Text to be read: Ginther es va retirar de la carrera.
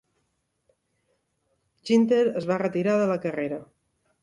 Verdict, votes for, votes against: accepted, 2, 0